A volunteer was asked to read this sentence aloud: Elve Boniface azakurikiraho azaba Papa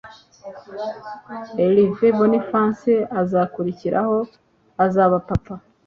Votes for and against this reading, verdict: 2, 0, accepted